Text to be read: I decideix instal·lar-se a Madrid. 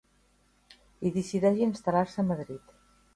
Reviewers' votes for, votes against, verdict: 1, 3, rejected